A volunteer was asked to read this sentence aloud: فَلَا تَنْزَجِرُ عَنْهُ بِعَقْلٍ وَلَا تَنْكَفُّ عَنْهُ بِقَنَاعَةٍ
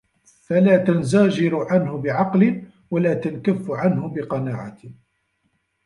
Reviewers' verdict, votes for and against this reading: rejected, 0, 2